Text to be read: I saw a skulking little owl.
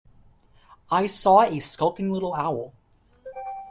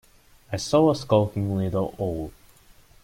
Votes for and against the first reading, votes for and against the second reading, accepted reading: 2, 0, 0, 2, first